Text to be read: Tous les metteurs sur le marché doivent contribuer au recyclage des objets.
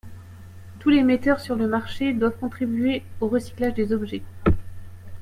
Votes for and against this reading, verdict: 2, 0, accepted